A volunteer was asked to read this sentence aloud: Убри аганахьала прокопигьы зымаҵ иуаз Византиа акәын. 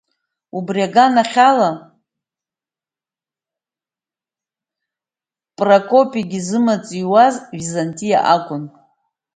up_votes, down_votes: 0, 2